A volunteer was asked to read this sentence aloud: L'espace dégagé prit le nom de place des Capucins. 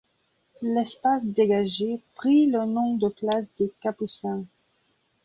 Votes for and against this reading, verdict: 3, 0, accepted